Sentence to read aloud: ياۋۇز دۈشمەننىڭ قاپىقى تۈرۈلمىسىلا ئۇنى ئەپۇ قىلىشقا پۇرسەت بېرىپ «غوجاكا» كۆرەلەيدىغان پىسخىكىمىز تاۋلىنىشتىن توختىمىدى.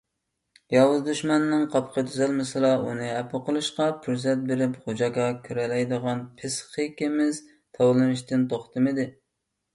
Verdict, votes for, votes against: rejected, 0, 2